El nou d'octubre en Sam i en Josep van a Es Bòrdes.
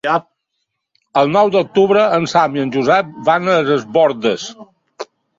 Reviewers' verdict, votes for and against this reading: rejected, 1, 2